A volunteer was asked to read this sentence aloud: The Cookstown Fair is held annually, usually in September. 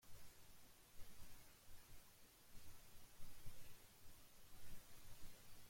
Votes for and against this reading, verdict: 0, 2, rejected